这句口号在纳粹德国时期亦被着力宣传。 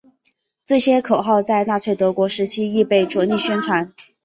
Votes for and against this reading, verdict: 1, 3, rejected